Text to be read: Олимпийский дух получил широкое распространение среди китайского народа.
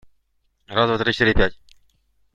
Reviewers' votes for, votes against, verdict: 0, 2, rejected